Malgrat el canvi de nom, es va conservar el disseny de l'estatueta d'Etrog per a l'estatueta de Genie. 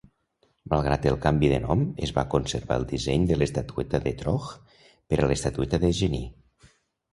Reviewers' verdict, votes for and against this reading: accepted, 2, 0